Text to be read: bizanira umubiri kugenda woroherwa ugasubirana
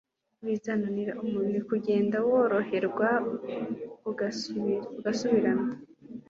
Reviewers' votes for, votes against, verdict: 1, 2, rejected